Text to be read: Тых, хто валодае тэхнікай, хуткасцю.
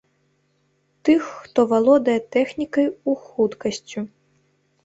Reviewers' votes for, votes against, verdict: 0, 2, rejected